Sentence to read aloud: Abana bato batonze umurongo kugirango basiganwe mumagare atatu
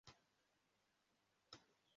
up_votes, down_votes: 0, 2